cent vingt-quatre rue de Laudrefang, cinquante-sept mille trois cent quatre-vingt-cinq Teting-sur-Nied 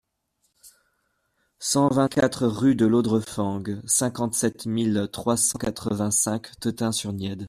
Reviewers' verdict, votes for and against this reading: accepted, 2, 0